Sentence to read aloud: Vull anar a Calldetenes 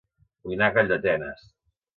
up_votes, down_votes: 1, 2